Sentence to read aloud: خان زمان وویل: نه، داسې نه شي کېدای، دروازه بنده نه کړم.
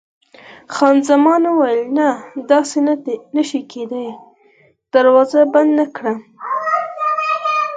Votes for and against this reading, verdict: 4, 2, accepted